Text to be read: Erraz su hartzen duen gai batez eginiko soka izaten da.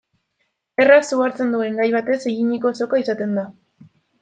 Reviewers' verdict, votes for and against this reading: accepted, 2, 0